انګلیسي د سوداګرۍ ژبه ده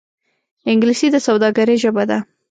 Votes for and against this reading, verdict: 2, 0, accepted